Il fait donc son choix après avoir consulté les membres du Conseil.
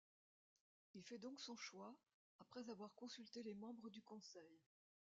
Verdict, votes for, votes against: rejected, 1, 2